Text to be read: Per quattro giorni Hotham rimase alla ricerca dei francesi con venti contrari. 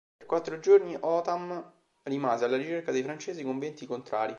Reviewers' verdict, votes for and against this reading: rejected, 2, 3